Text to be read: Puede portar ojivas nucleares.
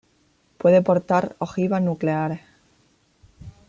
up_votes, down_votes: 2, 0